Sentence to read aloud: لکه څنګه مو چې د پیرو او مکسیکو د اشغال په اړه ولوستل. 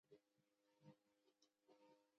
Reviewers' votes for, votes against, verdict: 0, 2, rejected